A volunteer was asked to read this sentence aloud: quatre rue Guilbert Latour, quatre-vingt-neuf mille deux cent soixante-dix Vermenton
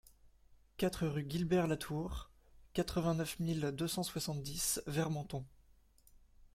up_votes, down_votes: 2, 0